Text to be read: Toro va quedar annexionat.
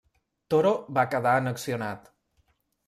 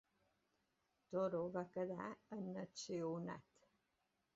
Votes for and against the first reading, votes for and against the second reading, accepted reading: 2, 0, 1, 2, first